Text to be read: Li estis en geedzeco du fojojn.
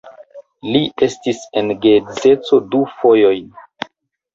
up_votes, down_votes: 0, 2